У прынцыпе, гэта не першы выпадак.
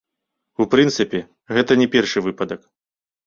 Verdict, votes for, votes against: rejected, 1, 2